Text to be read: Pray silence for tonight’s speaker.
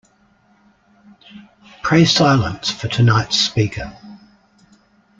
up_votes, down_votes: 2, 0